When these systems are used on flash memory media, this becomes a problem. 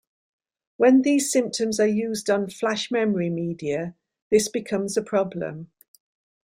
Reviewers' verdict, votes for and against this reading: rejected, 1, 2